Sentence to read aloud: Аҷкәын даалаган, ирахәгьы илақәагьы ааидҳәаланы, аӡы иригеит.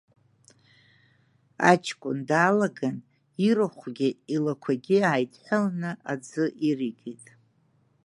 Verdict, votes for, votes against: rejected, 1, 2